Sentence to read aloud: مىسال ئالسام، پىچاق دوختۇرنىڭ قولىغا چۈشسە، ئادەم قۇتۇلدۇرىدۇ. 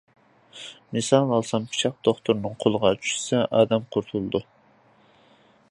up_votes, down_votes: 0, 2